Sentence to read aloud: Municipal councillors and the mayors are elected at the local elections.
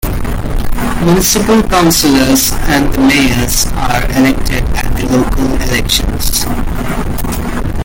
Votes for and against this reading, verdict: 0, 2, rejected